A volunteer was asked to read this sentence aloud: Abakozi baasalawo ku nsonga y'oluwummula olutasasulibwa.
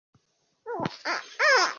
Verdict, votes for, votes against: rejected, 0, 2